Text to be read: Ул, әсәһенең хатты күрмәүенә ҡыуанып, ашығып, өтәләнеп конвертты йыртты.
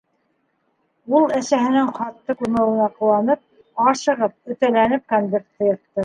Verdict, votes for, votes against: accepted, 3, 0